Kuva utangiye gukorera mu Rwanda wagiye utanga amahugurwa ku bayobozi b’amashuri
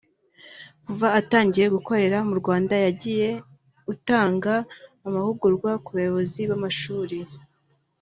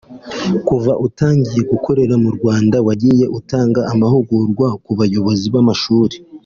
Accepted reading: second